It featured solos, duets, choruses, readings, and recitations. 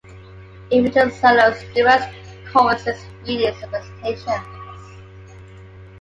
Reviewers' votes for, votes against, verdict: 2, 1, accepted